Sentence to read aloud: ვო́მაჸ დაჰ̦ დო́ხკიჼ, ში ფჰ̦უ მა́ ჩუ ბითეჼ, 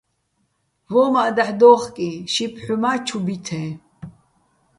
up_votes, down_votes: 1, 2